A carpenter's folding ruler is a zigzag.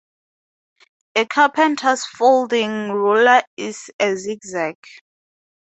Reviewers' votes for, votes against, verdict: 2, 0, accepted